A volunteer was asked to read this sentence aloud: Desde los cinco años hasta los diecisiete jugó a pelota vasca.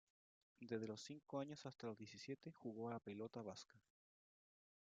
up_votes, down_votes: 0, 2